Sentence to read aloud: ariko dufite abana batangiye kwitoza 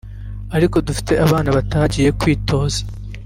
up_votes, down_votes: 1, 2